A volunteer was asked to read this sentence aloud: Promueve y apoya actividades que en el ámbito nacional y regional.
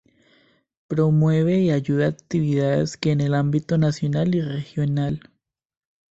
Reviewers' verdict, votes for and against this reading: rejected, 0, 2